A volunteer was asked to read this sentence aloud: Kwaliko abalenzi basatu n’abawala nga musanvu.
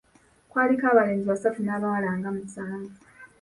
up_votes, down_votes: 2, 0